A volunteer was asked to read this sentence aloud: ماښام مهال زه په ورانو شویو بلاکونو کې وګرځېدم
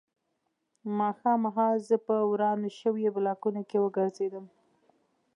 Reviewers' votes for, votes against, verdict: 2, 1, accepted